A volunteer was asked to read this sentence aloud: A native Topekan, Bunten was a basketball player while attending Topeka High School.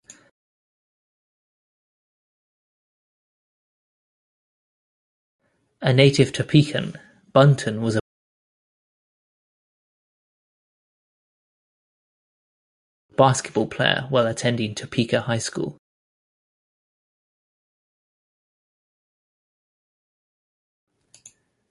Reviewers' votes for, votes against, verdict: 0, 2, rejected